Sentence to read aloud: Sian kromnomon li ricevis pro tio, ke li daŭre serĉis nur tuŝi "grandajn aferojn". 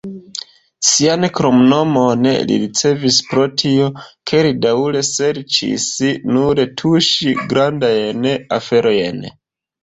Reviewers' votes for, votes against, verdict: 2, 1, accepted